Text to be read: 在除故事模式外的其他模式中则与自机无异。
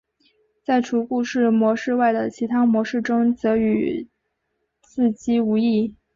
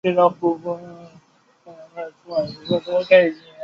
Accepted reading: first